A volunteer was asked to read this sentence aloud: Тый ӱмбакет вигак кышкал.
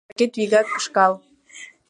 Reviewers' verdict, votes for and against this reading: rejected, 1, 2